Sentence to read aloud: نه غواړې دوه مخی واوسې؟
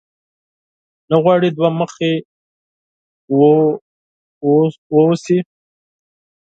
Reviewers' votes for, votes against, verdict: 4, 0, accepted